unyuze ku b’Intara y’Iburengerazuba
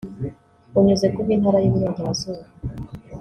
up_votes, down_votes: 2, 0